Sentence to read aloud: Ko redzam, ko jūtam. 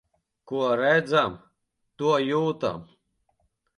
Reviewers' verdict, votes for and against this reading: rejected, 0, 3